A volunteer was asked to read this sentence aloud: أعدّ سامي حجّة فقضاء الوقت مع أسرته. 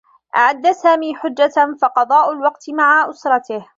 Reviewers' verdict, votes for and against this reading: accepted, 2, 1